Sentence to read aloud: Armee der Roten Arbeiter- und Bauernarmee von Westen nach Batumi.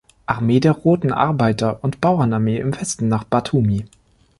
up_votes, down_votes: 0, 2